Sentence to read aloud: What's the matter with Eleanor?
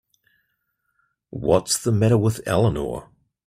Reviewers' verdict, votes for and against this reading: accepted, 2, 0